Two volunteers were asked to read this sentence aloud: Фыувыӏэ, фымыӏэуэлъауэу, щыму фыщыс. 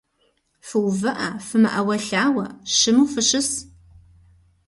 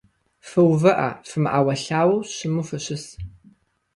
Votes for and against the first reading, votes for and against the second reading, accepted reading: 1, 2, 2, 0, second